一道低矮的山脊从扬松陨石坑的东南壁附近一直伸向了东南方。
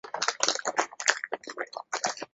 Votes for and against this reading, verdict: 1, 12, rejected